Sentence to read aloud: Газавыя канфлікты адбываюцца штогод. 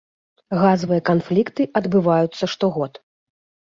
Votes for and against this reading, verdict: 2, 0, accepted